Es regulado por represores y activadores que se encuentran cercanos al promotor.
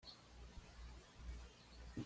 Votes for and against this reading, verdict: 1, 2, rejected